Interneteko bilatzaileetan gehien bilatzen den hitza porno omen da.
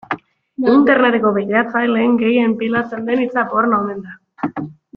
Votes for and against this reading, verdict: 0, 2, rejected